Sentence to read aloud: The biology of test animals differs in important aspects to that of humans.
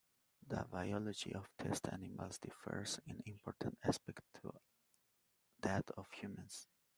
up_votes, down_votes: 2, 0